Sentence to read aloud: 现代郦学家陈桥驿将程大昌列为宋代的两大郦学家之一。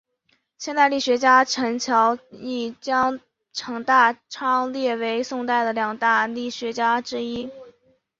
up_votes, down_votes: 2, 0